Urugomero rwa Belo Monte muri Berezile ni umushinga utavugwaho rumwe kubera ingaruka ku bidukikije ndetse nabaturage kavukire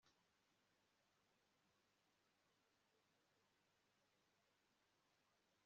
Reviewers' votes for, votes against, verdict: 1, 2, rejected